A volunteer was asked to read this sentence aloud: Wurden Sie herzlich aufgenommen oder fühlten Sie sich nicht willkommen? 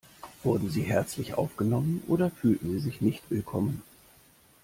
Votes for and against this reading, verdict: 2, 0, accepted